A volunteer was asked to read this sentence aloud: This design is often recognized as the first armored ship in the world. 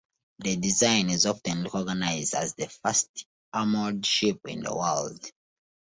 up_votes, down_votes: 1, 2